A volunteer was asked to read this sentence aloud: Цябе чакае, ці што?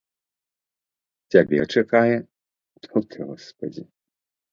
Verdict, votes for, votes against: rejected, 1, 2